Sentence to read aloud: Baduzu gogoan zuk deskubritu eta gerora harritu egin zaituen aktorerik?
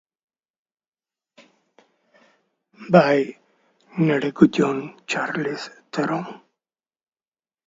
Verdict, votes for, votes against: rejected, 0, 2